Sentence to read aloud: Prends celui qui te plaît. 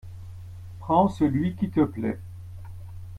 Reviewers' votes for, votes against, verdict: 2, 0, accepted